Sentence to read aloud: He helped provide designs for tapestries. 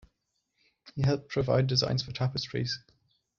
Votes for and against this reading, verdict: 2, 0, accepted